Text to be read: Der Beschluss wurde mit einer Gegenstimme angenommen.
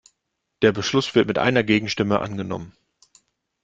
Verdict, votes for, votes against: rejected, 0, 2